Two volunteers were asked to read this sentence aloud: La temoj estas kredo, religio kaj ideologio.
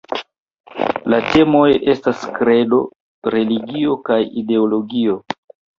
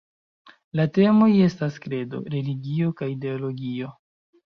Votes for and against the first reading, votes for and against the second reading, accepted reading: 2, 0, 1, 2, first